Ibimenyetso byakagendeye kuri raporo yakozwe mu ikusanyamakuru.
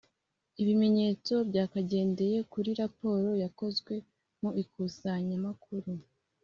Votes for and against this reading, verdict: 2, 0, accepted